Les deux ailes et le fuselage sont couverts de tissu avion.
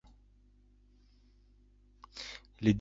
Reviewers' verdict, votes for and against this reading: rejected, 0, 2